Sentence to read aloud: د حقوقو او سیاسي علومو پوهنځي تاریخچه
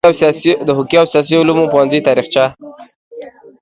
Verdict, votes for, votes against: accepted, 2, 0